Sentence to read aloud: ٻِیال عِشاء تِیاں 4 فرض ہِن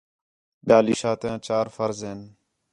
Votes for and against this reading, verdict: 0, 2, rejected